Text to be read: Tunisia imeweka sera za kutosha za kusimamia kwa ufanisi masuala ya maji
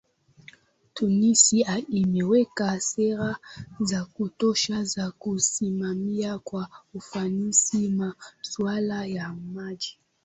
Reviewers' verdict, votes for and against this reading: accepted, 2, 1